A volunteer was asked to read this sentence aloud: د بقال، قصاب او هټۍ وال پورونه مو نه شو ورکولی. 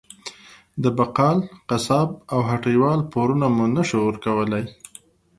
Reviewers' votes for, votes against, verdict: 2, 0, accepted